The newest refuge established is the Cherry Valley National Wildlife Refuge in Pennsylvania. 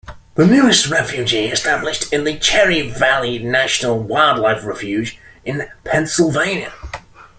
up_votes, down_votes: 1, 3